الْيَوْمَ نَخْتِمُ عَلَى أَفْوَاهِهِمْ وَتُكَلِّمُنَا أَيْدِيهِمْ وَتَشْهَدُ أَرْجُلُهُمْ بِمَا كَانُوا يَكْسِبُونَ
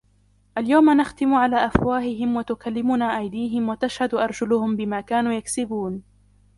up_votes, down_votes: 1, 2